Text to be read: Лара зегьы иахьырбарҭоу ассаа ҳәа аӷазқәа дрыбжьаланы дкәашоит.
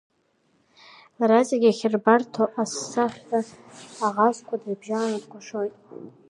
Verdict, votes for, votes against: rejected, 1, 3